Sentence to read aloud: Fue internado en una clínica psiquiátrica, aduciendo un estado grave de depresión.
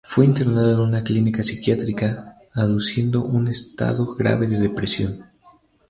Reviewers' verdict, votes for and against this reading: rejected, 0, 2